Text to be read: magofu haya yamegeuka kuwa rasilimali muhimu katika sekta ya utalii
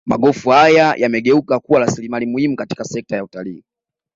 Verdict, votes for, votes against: accepted, 2, 1